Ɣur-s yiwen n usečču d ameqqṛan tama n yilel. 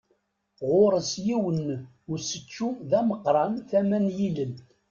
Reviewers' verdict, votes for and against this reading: accepted, 2, 0